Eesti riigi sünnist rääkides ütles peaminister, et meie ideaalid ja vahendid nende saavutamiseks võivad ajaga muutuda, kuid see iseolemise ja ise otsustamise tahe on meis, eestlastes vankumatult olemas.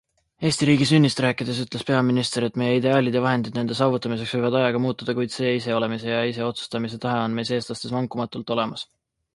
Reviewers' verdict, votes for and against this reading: accepted, 3, 0